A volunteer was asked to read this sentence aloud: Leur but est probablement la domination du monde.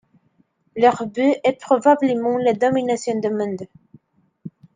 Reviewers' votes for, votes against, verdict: 0, 2, rejected